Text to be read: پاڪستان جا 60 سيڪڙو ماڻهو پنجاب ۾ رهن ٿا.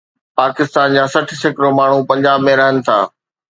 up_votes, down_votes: 0, 2